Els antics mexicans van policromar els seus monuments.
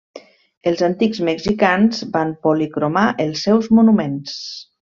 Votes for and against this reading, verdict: 3, 0, accepted